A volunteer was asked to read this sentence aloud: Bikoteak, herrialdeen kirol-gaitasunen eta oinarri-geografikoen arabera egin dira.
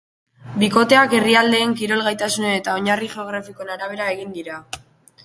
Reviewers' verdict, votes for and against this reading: accepted, 3, 0